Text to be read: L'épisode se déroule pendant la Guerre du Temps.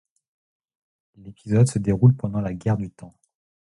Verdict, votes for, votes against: rejected, 0, 2